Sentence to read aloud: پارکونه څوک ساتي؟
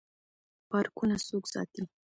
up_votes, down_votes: 1, 2